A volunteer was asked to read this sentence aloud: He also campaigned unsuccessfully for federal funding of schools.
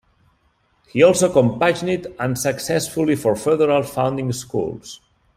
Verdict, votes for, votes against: rejected, 1, 2